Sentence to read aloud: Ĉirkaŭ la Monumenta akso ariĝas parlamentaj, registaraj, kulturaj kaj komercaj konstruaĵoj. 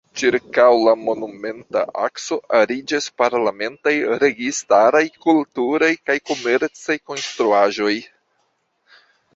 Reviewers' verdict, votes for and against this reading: accepted, 2, 1